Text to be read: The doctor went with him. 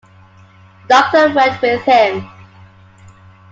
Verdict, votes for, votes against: accepted, 2, 1